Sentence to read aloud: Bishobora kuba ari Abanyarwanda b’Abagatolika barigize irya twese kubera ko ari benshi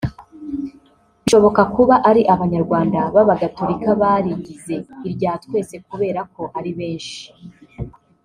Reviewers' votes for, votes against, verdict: 0, 2, rejected